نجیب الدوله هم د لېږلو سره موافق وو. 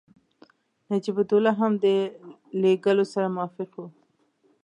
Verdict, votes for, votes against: accepted, 2, 0